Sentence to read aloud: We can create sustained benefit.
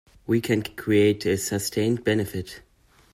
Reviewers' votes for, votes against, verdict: 0, 2, rejected